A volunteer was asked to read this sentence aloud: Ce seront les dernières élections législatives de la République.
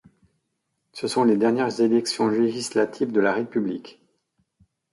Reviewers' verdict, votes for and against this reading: rejected, 0, 2